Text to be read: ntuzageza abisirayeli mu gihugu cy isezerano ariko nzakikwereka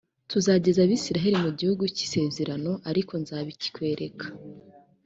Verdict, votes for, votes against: rejected, 1, 2